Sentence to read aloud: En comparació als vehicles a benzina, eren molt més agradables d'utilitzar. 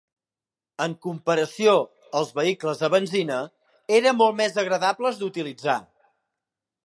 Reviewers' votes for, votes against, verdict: 1, 2, rejected